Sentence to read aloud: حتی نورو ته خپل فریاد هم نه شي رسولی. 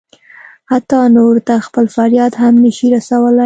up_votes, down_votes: 2, 0